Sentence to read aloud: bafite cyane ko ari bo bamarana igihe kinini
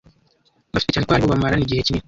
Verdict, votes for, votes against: rejected, 1, 2